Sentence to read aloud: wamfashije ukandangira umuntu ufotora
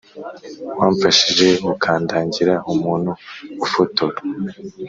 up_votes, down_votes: 2, 0